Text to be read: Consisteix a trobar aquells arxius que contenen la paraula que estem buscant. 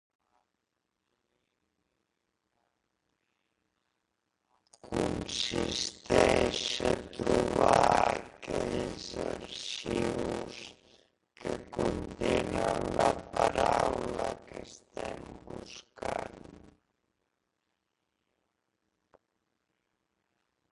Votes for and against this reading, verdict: 0, 2, rejected